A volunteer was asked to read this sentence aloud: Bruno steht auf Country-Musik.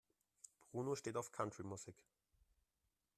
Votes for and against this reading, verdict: 0, 2, rejected